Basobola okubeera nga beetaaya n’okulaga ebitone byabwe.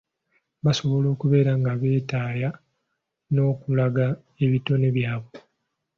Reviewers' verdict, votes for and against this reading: rejected, 0, 2